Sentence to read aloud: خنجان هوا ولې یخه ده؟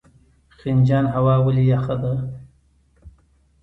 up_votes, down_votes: 2, 0